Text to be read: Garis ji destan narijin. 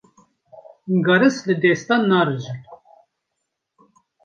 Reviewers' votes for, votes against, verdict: 0, 2, rejected